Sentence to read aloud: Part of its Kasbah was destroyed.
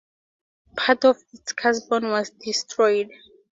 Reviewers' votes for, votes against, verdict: 2, 0, accepted